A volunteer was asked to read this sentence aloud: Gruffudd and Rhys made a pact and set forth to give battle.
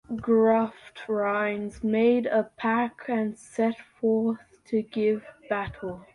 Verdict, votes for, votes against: rejected, 0, 2